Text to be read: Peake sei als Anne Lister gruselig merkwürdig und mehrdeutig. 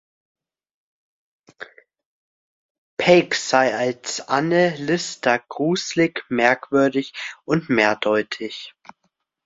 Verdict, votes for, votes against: rejected, 1, 2